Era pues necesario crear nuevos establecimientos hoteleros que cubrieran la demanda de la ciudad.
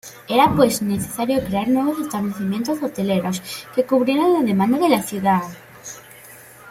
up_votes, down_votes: 2, 0